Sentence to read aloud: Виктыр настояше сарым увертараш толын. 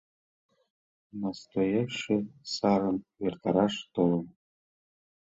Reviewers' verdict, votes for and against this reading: rejected, 0, 2